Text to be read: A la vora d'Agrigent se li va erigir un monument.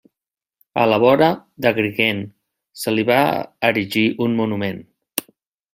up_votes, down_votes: 0, 2